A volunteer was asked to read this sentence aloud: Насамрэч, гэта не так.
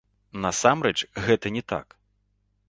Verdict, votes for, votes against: accepted, 2, 0